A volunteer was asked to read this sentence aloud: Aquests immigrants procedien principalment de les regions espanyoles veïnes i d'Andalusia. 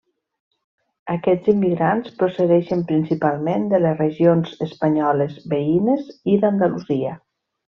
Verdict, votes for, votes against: rejected, 0, 2